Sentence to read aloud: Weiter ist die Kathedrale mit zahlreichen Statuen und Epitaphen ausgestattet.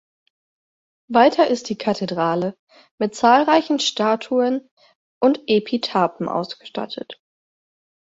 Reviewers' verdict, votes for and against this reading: rejected, 2, 4